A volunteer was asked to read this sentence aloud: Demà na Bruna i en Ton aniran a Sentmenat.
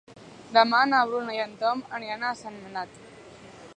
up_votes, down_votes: 1, 2